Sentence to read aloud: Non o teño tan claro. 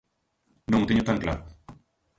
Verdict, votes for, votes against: rejected, 1, 2